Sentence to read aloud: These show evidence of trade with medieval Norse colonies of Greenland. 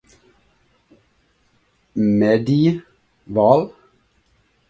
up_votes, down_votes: 0, 2